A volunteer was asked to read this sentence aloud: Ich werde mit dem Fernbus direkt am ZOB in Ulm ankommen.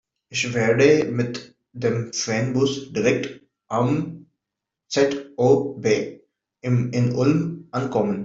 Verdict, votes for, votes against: rejected, 0, 2